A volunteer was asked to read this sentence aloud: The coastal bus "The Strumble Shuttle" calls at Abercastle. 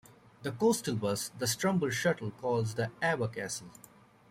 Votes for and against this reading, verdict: 0, 2, rejected